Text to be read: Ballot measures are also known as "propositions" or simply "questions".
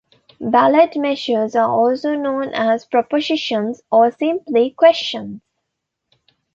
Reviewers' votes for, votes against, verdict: 0, 2, rejected